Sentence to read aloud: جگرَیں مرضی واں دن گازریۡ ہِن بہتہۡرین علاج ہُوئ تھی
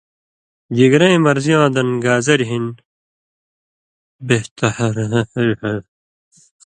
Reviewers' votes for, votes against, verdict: 0, 2, rejected